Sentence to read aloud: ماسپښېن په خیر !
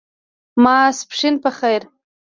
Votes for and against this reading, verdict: 2, 0, accepted